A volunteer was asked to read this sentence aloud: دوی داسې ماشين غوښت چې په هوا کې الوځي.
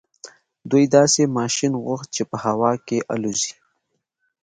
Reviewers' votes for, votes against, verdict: 2, 0, accepted